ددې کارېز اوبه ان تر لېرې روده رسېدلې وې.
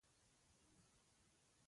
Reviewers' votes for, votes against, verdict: 2, 1, accepted